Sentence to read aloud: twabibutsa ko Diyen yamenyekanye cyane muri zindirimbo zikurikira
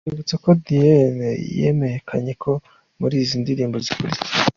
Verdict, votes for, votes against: rejected, 0, 2